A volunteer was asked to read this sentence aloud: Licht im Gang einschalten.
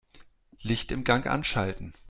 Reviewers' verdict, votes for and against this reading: rejected, 0, 2